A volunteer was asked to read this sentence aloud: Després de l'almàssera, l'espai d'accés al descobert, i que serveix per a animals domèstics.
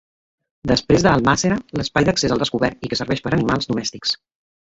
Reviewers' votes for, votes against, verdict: 0, 2, rejected